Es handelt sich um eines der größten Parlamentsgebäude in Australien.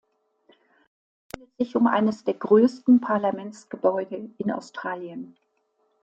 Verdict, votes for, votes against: rejected, 0, 2